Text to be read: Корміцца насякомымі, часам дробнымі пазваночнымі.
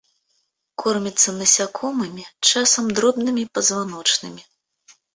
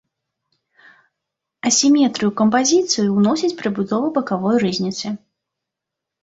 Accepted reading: first